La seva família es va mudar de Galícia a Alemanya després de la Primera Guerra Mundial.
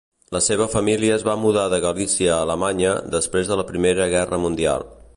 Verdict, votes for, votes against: accepted, 2, 0